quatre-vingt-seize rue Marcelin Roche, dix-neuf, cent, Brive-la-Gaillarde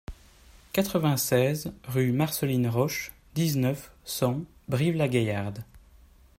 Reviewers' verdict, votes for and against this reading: rejected, 1, 2